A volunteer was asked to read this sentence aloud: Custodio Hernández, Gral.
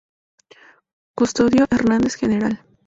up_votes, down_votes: 2, 0